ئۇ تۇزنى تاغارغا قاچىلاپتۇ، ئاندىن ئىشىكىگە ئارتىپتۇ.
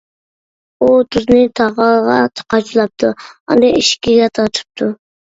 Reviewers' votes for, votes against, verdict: 0, 2, rejected